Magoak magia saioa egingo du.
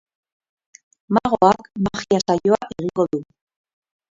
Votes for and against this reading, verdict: 2, 2, rejected